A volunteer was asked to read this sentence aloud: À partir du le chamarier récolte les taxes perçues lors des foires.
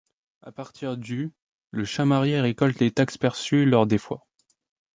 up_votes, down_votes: 1, 2